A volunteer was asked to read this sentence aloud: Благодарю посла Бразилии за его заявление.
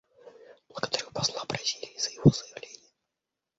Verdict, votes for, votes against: rejected, 1, 2